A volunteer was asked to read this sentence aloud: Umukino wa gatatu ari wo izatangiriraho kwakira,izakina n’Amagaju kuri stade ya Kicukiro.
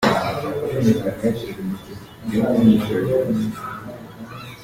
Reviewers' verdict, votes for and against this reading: rejected, 0, 2